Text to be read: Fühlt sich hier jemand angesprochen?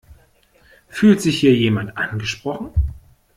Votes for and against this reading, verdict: 2, 0, accepted